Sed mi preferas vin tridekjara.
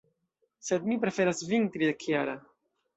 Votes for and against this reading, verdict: 1, 2, rejected